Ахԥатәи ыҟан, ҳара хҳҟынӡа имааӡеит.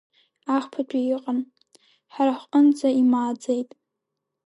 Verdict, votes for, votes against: accepted, 2, 1